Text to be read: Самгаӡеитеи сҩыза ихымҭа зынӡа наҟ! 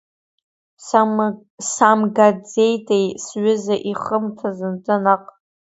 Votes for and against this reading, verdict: 0, 2, rejected